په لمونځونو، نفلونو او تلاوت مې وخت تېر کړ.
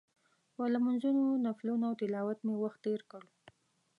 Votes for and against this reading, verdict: 2, 0, accepted